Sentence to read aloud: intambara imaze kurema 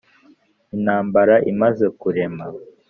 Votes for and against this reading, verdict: 3, 0, accepted